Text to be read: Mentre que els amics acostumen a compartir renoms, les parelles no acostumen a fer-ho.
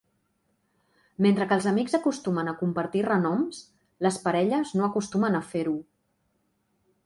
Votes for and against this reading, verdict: 2, 0, accepted